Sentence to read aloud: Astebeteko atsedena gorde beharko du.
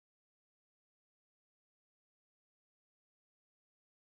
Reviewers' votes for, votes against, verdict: 0, 2, rejected